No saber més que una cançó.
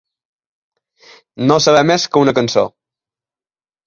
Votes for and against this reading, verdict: 3, 0, accepted